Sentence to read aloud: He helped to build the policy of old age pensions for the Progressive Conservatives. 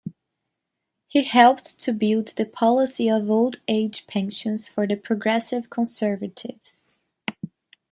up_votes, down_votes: 0, 2